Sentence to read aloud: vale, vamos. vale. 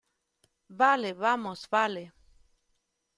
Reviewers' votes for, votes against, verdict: 2, 0, accepted